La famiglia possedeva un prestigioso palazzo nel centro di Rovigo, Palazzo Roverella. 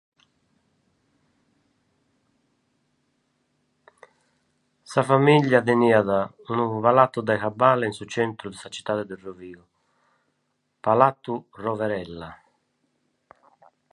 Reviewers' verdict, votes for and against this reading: rejected, 1, 2